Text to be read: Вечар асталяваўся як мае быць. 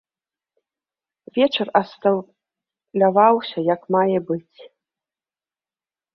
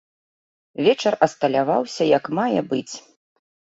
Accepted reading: second